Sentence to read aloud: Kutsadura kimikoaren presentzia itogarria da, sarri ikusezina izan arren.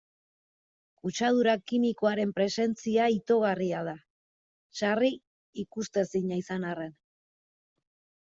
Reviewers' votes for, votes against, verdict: 2, 1, accepted